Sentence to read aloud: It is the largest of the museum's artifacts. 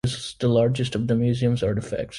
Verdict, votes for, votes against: rejected, 0, 3